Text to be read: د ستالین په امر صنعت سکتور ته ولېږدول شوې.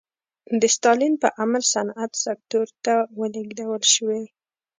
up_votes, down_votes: 1, 2